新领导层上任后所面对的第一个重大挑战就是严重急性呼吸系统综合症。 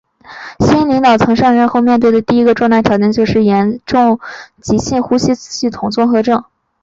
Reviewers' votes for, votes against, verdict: 2, 1, accepted